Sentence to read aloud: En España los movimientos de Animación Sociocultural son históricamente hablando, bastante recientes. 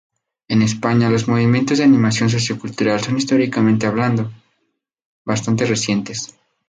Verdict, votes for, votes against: accepted, 4, 0